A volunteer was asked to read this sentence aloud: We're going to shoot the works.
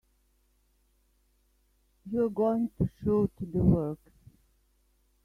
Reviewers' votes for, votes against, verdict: 1, 2, rejected